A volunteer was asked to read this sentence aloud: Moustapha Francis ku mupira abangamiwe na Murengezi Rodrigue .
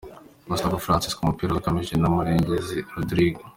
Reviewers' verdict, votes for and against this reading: accepted, 2, 0